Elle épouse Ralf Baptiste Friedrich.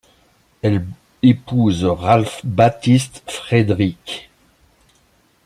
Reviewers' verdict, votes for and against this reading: rejected, 0, 2